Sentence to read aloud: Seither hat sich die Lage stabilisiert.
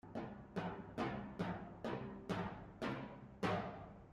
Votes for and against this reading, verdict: 0, 2, rejected